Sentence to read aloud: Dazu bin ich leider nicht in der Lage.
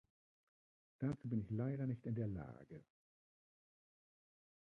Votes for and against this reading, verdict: 0, 2, rejected